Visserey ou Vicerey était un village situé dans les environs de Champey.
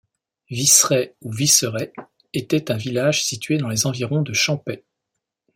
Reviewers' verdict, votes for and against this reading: accepted, 2, 0